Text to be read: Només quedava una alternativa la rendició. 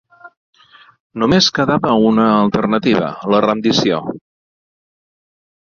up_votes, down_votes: 2, 0